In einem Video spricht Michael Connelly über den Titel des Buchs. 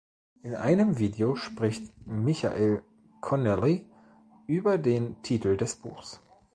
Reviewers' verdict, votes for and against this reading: rejected, 0, 2